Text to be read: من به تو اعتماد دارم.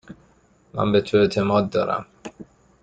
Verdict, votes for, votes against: accepted, 2, 0